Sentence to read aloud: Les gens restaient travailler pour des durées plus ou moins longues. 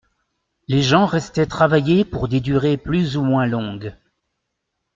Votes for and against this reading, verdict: 2, 0, accepted